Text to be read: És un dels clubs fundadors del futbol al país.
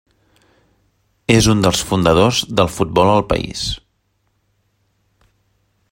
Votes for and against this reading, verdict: 1, 2, rejected